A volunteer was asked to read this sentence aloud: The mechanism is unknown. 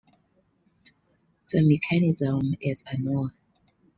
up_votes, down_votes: 2, 0